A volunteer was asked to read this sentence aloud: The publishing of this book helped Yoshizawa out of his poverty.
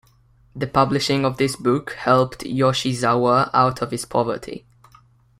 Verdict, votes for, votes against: rejected, 1, 2